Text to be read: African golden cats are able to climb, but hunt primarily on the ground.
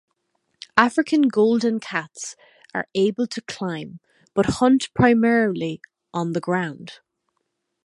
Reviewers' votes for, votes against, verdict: 2, 0, accepted